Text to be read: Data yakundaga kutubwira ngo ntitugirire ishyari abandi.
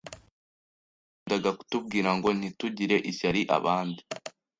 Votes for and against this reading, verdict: 1, 2, rejected